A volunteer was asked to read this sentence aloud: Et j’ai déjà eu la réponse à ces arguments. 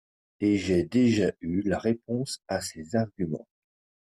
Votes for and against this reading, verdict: 2, 1, accepted